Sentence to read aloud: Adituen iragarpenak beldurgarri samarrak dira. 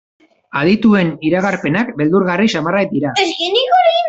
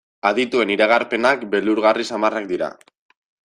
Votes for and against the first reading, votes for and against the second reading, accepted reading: 0, 2, 2, 0, second